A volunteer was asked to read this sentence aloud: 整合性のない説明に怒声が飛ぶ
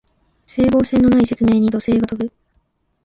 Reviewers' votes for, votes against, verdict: 0, 2, rejected